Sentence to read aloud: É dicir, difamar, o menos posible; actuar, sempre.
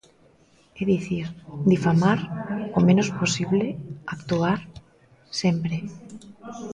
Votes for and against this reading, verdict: 2, 0, accepted